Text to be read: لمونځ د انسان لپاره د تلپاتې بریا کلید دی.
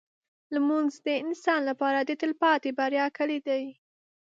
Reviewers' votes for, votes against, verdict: 2, 0, accepted